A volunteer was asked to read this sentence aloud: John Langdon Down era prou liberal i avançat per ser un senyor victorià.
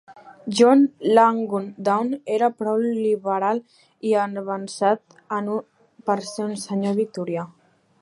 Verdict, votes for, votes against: rejected, 0, 2